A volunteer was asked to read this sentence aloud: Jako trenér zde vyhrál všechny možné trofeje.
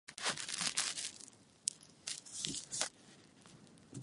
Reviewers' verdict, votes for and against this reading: rejected, 0, 2